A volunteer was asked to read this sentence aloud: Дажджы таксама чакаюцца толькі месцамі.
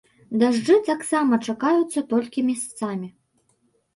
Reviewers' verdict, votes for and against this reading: rejected, 1, 2